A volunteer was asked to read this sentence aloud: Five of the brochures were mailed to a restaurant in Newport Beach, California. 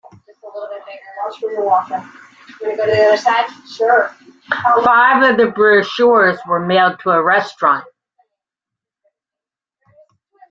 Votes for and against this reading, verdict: 1, 2, rejected